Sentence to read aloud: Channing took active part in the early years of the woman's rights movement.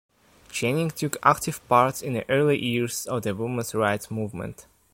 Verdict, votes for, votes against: rejected, 0, 2